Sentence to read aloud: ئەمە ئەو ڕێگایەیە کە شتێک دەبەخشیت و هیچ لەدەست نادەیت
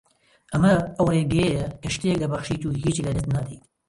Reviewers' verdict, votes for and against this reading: rejected, 1, 2